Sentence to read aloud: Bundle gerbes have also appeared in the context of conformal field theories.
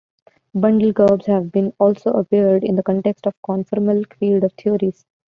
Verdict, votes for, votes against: rejected, 0, 2